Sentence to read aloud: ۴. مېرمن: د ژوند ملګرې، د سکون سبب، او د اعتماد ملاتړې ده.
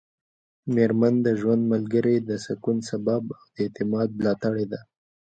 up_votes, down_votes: 0, 2